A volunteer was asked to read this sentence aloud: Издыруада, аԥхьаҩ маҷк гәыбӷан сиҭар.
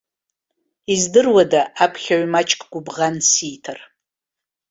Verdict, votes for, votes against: accepted, 2, 0